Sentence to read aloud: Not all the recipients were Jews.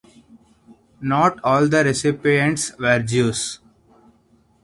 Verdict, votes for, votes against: accepted, 2, 0